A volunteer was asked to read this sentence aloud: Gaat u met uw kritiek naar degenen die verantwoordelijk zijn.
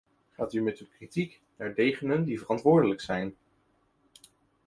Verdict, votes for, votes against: rejected, 0, 2